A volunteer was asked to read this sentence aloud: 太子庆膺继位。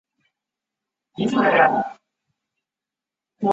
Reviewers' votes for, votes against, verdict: 2, 0, accepted